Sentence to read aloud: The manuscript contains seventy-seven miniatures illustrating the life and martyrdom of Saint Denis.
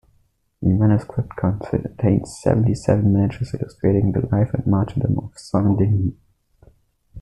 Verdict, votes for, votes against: rejected, 0, 2